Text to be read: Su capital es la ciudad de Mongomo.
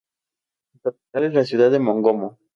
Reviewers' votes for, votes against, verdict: 2, 0, accepted